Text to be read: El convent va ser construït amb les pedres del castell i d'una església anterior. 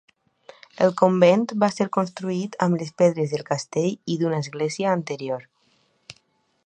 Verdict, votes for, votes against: accepted, 2, 0